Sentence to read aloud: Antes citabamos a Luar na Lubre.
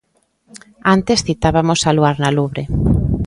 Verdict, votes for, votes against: rejected, 0, 2